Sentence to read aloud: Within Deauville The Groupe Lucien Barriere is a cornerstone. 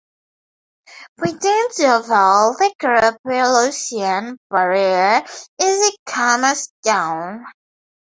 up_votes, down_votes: 4, 0